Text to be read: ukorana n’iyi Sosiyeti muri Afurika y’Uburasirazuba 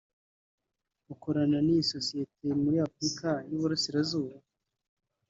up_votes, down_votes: 1, 2